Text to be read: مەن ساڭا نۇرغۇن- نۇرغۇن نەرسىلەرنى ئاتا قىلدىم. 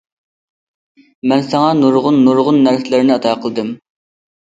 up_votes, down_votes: 2, 0